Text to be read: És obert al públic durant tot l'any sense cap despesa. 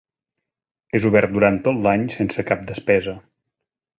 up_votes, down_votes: 2, 1